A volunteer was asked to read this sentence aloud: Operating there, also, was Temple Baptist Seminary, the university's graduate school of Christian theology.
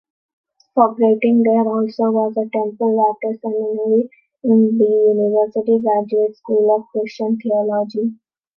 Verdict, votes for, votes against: rejected, 0, 3